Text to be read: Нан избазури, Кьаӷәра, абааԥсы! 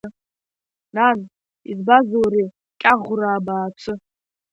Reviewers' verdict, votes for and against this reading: rejected, 0, 2